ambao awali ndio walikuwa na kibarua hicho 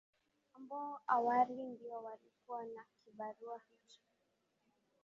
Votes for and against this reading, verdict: 12, 4, accepted